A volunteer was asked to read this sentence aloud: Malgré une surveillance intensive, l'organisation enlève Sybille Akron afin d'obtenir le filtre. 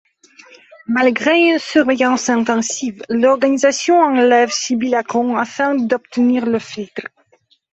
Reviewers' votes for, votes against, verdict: 2, 1, accepted